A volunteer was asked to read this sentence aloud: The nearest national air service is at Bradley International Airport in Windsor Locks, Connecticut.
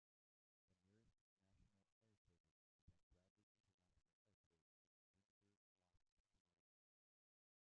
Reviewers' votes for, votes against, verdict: 0, 2, rejected